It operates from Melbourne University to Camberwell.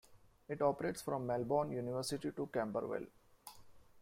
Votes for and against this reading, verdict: 2, 0, accepted